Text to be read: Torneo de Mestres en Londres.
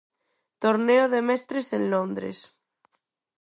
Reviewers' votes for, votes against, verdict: 4, 0, accepted